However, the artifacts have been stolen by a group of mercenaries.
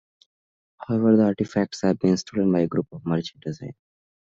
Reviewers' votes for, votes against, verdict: 1, 2, rejected